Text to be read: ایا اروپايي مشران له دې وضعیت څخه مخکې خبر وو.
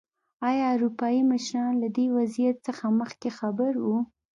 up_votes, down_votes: 2, 0